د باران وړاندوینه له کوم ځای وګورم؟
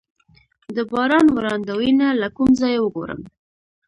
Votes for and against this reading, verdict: 2, 0, accepted